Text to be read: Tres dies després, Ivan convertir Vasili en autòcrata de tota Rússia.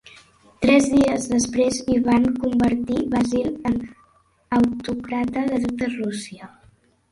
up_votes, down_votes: 0, 2